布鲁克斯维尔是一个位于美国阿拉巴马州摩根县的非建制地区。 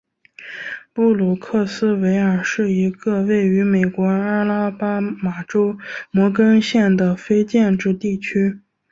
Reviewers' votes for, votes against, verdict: 2, 0, accepted